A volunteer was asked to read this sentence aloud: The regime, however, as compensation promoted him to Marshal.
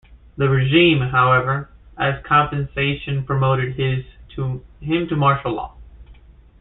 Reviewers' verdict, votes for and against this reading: rejected, 0, 2